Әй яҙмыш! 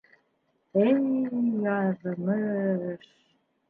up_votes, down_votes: 0, 2